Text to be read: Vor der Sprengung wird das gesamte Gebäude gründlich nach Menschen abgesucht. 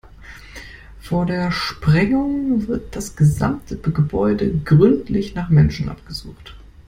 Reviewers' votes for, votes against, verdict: 2, 1, accepted